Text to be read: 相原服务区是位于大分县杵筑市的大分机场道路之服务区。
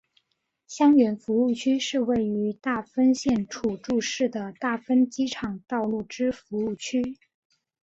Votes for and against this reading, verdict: 2, 0, accepted